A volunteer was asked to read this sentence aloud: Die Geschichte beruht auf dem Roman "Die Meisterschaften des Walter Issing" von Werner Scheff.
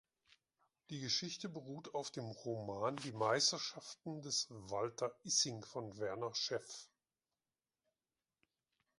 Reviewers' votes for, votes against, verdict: 2, 0, accepted